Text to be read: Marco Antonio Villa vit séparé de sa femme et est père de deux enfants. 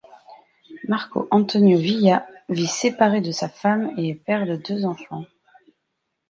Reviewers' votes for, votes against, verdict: 2, 1, accepted